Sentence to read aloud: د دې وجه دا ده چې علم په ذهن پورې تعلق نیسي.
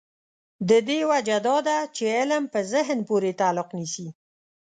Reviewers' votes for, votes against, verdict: 2, 0, accepted